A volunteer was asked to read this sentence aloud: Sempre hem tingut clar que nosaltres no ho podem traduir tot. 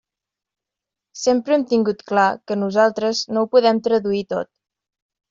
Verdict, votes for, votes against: accepted, 3, 0